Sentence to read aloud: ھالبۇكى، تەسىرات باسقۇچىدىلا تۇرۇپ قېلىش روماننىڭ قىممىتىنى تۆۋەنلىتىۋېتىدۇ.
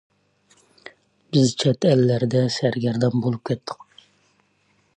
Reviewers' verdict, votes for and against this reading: rejected, 0, 2